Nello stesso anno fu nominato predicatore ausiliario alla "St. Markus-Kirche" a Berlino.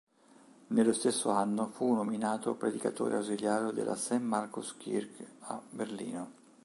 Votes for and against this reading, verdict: 2, 3, rejected